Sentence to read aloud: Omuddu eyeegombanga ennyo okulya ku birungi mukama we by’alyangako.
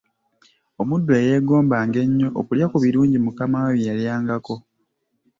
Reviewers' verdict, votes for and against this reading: accepted, 2, 0